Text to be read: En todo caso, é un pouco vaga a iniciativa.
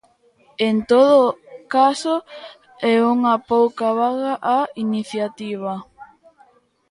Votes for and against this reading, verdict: 0, 2, rejected